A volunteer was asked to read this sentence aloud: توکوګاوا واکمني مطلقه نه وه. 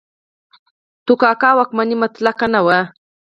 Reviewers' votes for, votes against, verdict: 2, 4, rejected